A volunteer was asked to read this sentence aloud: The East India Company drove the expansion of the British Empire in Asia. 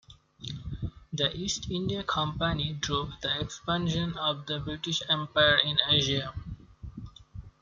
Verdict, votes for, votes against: accepted, 2, 0